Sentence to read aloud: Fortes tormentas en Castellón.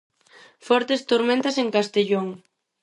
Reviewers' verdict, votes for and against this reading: accepted, 4, 0